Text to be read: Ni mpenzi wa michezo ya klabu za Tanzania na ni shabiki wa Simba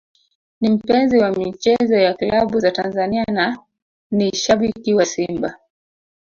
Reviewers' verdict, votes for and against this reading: rejected, 0, 2